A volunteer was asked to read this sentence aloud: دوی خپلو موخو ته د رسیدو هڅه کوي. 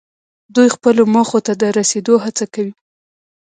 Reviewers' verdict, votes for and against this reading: accepted, 2, 0